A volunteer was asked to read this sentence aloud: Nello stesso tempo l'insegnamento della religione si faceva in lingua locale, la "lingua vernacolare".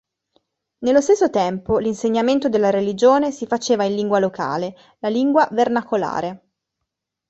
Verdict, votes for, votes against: accepted, 2, 0